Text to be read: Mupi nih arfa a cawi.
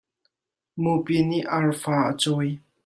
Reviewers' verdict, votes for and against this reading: accepted, 2, 0